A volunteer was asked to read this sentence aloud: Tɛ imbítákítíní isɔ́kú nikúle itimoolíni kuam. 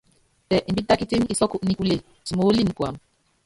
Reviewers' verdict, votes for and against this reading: rejected, 0, 2